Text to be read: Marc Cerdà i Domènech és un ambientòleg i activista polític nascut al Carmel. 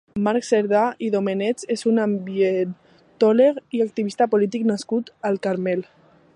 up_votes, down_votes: 1, 2